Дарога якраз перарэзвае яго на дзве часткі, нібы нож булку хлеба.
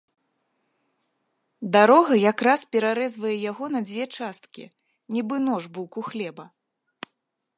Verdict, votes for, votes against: rejected, 1, 2